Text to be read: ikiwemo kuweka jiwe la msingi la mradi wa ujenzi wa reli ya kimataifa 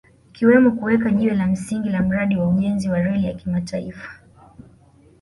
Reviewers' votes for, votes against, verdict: 1, 2, rejected